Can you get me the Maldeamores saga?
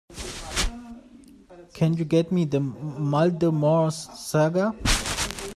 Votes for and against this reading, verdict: 0, 2, rejected